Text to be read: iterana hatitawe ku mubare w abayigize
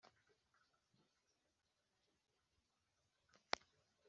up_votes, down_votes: 0, 2